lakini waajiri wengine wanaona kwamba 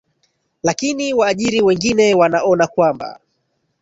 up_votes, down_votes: 1, 2